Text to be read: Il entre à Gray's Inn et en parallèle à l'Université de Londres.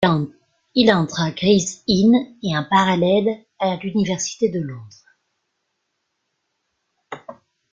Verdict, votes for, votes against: accepted, 2, 1